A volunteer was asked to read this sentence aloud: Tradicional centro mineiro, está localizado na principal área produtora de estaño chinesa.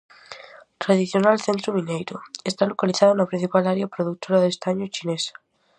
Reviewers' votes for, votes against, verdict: 4, 0, accepted